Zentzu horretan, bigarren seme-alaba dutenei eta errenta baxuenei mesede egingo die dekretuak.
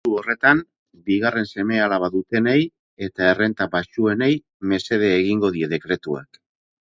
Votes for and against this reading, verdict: 2, 8, rejected